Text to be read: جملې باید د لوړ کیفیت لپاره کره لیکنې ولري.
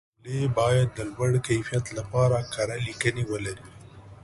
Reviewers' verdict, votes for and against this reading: accepted, 2, 0